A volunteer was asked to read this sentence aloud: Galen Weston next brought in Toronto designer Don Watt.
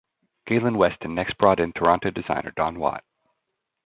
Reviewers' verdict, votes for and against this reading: accepted, 2, 0